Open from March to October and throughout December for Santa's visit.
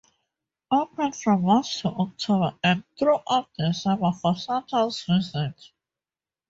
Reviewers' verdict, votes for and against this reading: rejected, 0, 4